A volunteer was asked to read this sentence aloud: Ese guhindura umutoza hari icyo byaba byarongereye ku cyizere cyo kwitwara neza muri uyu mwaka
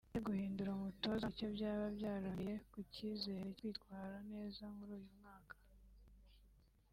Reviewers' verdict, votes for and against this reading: rejected, 1, 2